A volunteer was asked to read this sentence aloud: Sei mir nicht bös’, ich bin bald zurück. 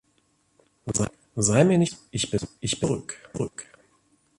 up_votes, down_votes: 0, 2